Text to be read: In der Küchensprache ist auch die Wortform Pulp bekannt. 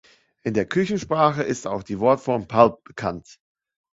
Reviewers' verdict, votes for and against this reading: accepted, 2, 0